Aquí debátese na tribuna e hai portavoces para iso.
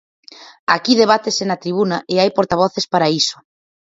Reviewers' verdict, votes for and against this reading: accepted, 4, 0